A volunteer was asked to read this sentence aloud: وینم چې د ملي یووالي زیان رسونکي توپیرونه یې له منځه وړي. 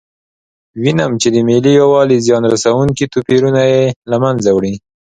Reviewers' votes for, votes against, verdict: 2, 0, accepted